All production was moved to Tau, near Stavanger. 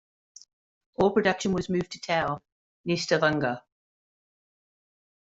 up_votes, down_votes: 0, 2